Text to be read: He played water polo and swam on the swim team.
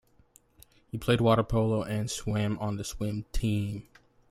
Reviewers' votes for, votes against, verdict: 2, 0, accepted